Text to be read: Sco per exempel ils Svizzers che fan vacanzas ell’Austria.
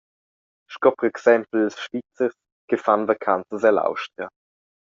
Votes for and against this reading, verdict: 2, 0, accepted